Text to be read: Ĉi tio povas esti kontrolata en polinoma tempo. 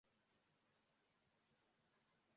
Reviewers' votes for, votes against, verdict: 0, 2, rejected